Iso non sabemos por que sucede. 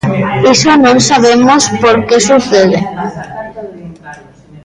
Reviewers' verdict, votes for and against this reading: rejected, 1, 2